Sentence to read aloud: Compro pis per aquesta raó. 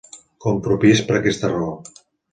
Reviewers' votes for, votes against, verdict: 2, 0, accepted